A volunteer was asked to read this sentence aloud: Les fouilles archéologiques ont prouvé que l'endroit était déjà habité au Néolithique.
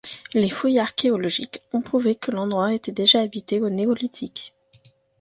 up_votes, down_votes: 2, 1